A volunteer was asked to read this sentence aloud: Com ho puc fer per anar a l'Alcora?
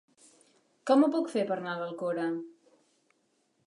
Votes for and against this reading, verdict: 1, 2, rejected